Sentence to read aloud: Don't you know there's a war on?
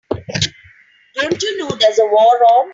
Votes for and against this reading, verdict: 2, 1, accepted